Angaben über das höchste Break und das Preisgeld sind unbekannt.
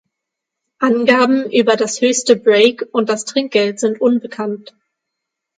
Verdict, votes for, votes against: rejected, 0, 6